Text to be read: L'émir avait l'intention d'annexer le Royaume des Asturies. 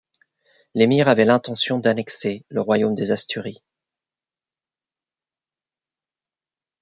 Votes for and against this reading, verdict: 2, 0, accepted